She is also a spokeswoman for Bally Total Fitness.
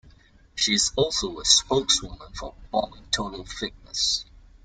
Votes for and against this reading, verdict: 0, 2, rejected